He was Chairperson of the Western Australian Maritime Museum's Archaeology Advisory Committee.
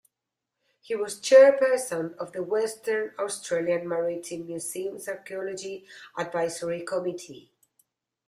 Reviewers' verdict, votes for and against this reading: rejected, 0, 2